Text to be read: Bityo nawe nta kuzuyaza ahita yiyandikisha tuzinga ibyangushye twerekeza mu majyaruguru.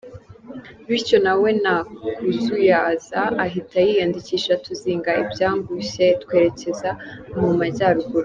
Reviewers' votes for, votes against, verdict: 2, 1, accepted